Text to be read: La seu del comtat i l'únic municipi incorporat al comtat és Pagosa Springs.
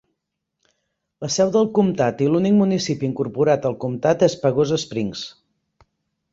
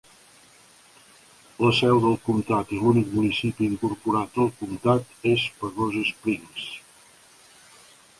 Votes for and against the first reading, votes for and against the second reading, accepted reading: 2, 0, 1, 2, first